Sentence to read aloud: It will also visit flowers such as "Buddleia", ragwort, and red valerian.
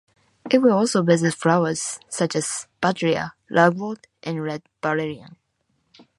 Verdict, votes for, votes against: rejected, 0, 2